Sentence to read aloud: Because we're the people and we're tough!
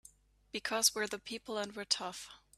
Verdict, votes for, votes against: accepted, 3, 0